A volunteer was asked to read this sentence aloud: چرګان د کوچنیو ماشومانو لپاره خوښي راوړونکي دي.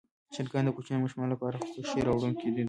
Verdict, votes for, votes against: rejected, 1, 2